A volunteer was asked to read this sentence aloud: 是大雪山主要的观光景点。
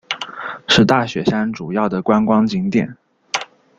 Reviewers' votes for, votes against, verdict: 2, 0, accepted